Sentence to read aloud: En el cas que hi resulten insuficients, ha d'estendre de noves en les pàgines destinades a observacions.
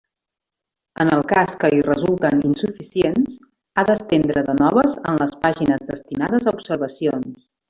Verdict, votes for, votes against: rejected, 1, 2